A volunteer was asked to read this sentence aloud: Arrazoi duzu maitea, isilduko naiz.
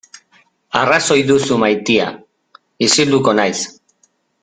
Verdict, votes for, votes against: accepted, 2, 0